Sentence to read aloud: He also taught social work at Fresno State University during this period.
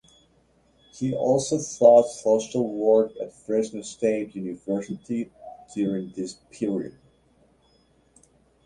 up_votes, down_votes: 0, 2